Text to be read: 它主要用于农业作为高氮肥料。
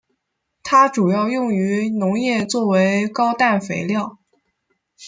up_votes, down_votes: 2, 0